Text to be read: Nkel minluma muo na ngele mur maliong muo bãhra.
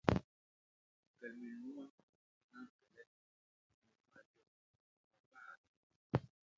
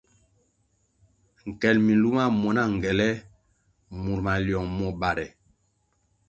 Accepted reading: second